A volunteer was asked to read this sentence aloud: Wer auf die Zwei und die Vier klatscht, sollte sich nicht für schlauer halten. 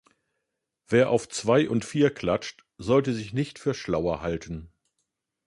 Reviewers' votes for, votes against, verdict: 0, 2, rejected